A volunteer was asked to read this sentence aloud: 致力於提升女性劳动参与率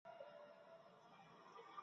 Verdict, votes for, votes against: rejected, 0, 2